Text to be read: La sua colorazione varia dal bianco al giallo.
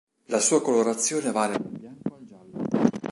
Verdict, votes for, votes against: rejected, 0, 2